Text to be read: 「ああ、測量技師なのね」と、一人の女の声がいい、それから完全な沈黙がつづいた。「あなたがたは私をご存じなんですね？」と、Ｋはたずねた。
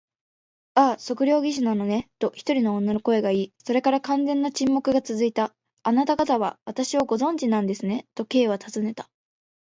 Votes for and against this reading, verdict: 3, 0, accepted